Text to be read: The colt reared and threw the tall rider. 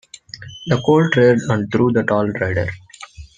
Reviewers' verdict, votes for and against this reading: rejected, 0, 2